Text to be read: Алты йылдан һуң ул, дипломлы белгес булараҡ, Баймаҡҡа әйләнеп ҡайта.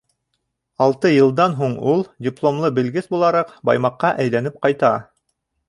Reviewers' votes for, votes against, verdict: 2, 0, accepted